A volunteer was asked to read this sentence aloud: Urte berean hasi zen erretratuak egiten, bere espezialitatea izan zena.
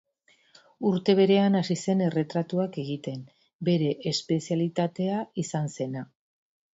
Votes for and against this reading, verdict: 6, 0, accepted